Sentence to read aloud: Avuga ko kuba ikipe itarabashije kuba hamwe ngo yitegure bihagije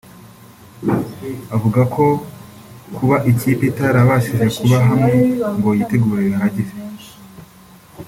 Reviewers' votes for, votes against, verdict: 1, 2, rejected